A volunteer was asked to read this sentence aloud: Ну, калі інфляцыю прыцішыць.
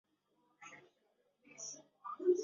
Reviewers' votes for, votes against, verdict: 0, 2, rejected